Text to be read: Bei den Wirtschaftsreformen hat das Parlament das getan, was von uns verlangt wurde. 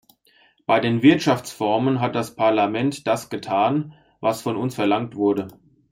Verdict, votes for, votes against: rejected, 0, 2